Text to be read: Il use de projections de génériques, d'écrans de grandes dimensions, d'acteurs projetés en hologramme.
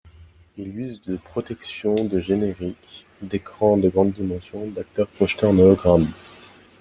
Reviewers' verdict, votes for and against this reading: rejected, 0, 2